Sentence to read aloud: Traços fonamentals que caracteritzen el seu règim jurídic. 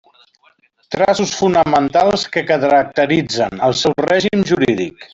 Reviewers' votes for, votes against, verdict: 1, 2, rejected